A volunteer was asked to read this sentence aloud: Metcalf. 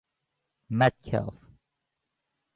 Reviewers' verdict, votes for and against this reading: accepted, 2, 0